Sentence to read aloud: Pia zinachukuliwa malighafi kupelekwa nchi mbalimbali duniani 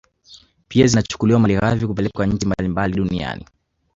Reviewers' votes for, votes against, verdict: 1, 2, rejected